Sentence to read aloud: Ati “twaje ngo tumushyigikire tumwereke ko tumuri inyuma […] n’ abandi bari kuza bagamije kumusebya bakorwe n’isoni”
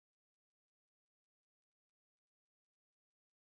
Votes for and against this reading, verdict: 0, 2, rejected